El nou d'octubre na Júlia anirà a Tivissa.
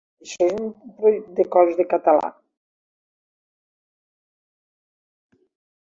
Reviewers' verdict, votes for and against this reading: rejected, 0, 2